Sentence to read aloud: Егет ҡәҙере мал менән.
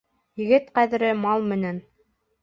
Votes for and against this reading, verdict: 2, 0, accepted